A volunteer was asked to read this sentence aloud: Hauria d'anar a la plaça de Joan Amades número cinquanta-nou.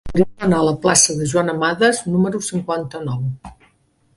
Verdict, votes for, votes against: rejected, 0, 2